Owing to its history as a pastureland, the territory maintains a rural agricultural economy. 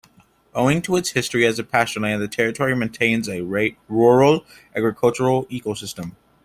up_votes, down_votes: 0, 3